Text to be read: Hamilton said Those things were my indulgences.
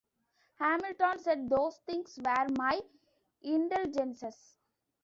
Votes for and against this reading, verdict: 1, 2, rejected